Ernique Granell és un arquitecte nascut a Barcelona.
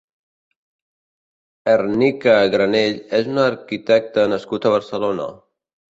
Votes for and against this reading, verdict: 2, 0, accepted